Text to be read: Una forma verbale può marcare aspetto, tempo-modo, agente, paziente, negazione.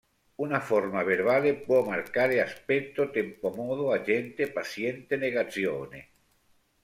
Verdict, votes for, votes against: accepted, 2, 1